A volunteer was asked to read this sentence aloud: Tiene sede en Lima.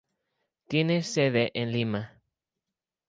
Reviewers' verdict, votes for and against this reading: accepted, 2, 0